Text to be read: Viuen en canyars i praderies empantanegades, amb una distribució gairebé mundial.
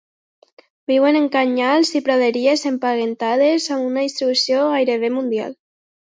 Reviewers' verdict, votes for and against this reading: accepted, 2, 0